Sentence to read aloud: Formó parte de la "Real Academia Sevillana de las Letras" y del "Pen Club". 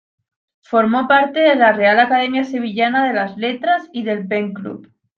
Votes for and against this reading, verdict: 2, 0, accepted